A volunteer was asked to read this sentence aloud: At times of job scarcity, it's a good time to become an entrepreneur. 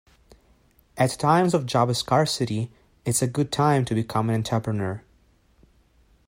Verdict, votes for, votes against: accepted, 2, 1